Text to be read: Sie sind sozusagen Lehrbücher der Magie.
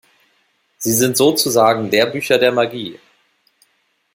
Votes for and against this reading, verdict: 2, 0, accepted